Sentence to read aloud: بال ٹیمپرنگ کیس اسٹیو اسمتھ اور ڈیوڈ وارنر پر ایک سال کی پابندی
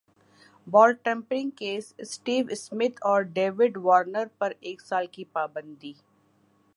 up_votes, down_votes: 1, 2